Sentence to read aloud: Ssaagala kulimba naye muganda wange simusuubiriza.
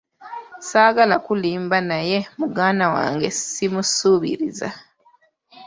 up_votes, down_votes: 2, 1